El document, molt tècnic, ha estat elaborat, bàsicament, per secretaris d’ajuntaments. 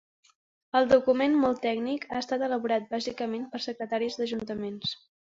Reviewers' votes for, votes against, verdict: 3, 0, accepted